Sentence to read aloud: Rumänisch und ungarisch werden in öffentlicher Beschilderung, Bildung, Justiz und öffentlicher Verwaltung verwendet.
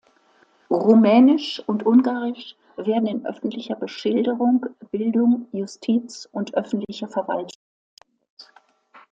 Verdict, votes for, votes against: rejected, 0, 2